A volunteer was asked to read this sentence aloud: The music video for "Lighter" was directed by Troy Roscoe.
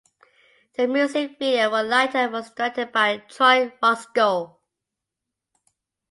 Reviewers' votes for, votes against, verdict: 2, 0, accepted